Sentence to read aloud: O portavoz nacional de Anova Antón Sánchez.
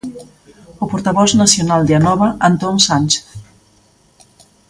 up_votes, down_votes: 3, 0